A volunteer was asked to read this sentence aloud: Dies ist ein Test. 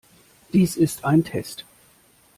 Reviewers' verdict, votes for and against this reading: accepted, 2, 0